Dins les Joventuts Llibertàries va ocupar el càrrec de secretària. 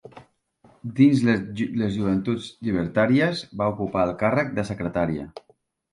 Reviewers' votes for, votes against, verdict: 0, 2, rejected